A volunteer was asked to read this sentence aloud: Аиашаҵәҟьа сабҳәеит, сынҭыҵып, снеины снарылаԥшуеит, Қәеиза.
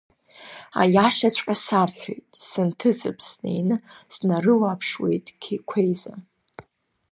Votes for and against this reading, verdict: 1, 2, rejected